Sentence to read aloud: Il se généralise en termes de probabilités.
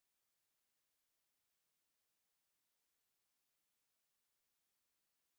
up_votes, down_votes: 0, 2